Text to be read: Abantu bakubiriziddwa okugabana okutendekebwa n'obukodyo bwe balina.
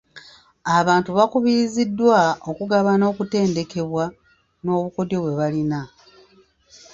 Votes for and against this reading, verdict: 0, 2, rejected